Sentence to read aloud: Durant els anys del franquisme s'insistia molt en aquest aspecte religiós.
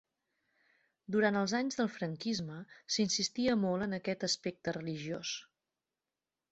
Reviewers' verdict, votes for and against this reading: accepted, 3, 0